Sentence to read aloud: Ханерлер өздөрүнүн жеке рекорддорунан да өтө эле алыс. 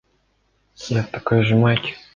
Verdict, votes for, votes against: rejected, 0, 2